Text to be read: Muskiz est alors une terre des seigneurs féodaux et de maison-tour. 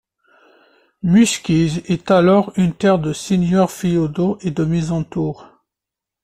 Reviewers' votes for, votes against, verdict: 1, 2, rejected